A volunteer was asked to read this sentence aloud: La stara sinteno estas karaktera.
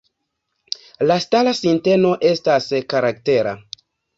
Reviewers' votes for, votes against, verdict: 2, 0, accepted